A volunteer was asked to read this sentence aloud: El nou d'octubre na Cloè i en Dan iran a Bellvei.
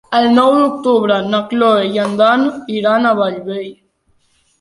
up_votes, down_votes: 1, 2